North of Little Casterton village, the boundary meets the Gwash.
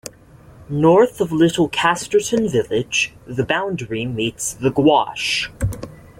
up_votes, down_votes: 1, 2